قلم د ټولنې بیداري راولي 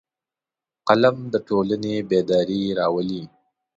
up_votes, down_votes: 2, 0